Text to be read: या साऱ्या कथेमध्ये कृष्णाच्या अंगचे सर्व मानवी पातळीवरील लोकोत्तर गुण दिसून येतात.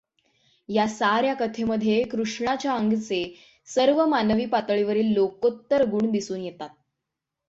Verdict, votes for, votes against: accepted, 6, 0